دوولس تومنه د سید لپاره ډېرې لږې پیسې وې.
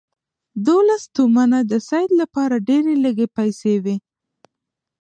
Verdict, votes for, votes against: rejected, 1, 2